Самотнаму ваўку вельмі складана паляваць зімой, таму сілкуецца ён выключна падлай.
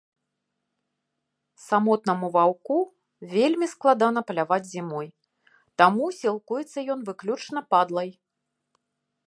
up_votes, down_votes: 2, 0